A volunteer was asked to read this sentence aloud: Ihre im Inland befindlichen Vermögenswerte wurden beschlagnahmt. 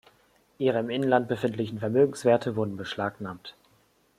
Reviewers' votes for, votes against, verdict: 2, 0, accepted